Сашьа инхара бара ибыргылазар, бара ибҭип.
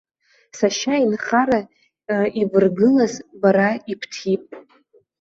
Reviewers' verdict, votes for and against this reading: rejected, 0, 2